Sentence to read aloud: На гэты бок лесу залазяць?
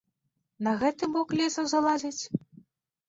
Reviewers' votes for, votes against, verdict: 2, 0, accepted